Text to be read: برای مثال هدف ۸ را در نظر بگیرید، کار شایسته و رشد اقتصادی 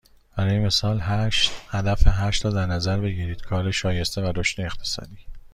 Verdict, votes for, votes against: rejected, 0, 2